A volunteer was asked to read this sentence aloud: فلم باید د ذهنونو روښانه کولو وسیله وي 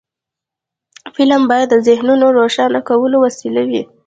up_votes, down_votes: 1, 2